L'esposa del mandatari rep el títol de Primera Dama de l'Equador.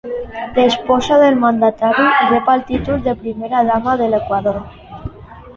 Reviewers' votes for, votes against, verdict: 0, 2, rejected